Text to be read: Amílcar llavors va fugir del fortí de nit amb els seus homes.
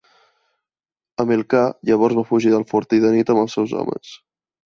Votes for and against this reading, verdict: 2, 0, accepted